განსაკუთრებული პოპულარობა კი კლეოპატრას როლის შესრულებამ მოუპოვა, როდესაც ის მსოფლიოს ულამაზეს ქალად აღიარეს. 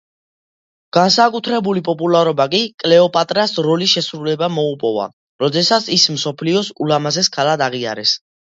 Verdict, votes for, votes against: accepted, 2, 0